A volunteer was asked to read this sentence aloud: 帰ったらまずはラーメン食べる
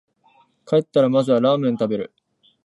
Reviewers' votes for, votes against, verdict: 6, 0, accepted